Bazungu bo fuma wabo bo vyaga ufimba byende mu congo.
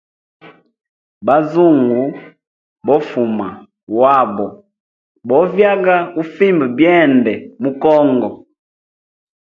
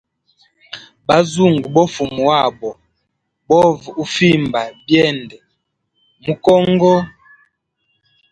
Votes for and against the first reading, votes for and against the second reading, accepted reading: 2, 0, 0, 2, first